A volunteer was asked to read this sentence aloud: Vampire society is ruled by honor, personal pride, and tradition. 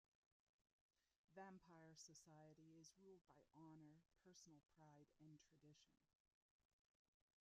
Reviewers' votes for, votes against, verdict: 0, 2, rejected